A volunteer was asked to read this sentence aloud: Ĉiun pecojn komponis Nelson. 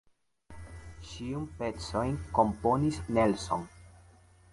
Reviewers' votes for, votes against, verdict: 2, 0, accepted